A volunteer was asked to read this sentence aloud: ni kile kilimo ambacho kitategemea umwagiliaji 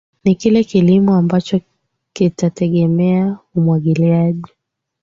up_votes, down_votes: 0, 2